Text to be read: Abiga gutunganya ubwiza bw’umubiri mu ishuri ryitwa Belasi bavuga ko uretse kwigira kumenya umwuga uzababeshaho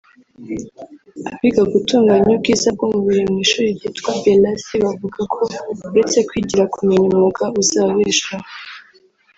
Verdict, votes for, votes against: rejected, 0, 3